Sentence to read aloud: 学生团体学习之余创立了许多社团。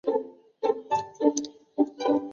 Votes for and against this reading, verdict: 0, 2, rejected